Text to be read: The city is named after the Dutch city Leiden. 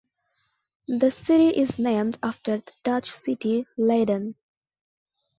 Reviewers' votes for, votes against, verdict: 2, 0, accepted